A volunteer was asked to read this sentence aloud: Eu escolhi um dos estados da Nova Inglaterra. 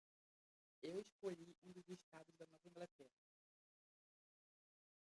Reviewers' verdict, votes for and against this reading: rejected, 0, 2